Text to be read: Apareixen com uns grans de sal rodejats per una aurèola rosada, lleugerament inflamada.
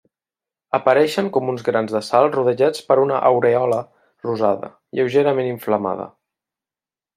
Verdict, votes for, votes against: rejected, 1, 2